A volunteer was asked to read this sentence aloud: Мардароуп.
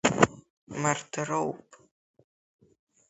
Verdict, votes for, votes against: accepted, 2, 0